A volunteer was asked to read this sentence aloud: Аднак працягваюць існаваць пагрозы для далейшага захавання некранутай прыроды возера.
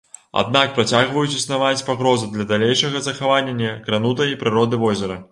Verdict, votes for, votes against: rejected, 1, 2